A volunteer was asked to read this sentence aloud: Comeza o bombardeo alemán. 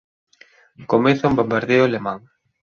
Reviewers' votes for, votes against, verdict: 0, 2, rejected